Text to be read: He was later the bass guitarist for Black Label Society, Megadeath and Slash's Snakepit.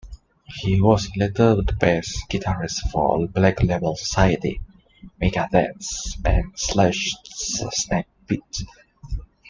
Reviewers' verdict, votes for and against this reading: rejected, 0, 2